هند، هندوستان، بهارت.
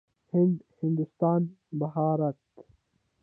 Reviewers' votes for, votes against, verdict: 1, 2, rejected